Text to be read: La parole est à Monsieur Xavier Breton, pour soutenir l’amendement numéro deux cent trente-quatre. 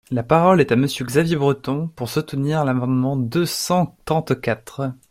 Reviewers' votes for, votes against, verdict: 0, 2, rejected